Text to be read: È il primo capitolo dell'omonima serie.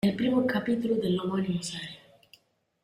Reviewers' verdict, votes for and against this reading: rejected, 1, 2